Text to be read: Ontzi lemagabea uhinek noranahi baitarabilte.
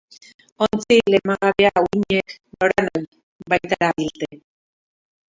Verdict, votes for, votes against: rejected, 0, 2